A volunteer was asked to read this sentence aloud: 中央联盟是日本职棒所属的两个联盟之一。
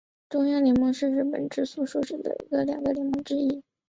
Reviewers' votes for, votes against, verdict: 0, 4, rejected